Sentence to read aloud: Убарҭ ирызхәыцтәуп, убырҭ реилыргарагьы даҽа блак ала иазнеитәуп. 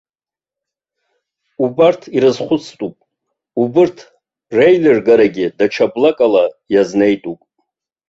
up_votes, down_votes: 1, 2